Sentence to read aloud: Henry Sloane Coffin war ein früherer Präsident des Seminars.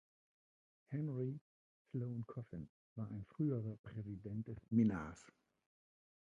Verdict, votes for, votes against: rejected, 0, 2